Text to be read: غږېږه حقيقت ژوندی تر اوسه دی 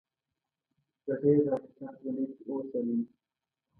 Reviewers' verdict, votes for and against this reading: rejected, 1, 2